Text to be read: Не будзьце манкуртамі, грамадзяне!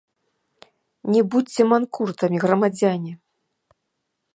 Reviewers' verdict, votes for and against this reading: accepted, 2, 0